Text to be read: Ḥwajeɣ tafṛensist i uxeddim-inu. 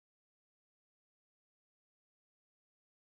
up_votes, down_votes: 0, 2